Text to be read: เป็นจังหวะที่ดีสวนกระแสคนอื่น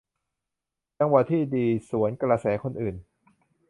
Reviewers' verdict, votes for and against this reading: rejected, 1, 2